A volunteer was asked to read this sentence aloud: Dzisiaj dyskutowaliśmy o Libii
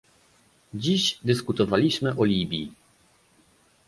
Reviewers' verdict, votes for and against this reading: rejected, 0, 2